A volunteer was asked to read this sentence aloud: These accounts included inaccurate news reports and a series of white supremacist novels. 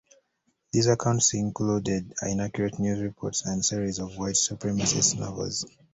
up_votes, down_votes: 1, 2